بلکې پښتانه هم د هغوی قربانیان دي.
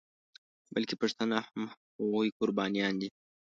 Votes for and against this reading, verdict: 1, 2, rejected